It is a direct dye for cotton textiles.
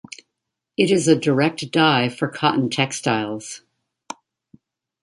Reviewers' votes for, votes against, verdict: 1, 2, rejected